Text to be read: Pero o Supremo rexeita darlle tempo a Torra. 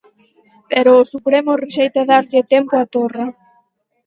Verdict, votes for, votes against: accepted, 4, 0